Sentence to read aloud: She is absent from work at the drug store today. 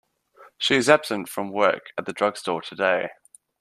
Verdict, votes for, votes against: accepted, 2, 0